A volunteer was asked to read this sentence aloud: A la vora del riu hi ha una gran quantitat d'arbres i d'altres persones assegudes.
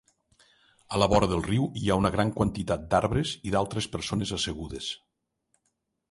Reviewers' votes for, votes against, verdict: 2, 0, accepted